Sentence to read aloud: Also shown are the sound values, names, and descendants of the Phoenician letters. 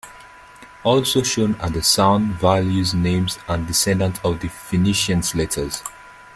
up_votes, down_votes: 1, 2